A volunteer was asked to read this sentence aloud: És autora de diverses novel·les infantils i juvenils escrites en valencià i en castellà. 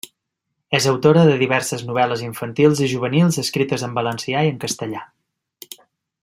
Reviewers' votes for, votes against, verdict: 3, 0, accepted